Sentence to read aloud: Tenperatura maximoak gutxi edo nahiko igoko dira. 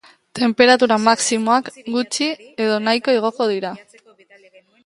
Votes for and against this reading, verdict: 2, 0, accepted